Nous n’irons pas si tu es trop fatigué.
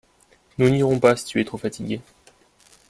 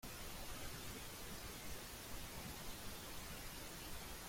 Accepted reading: first